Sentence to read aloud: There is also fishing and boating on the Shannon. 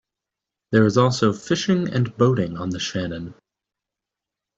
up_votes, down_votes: 2, 0